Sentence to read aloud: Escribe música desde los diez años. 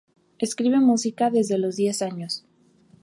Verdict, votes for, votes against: accepted, 2, 0